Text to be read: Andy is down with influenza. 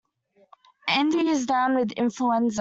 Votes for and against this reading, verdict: 0, 2, rejected